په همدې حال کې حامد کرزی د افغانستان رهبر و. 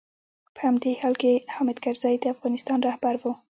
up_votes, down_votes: 2, 0